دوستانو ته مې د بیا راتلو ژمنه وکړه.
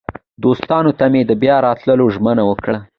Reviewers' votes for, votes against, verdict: 2, 0, accepted